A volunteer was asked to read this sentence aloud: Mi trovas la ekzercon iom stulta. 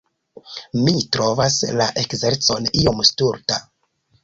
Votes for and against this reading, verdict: 1, 2, rejected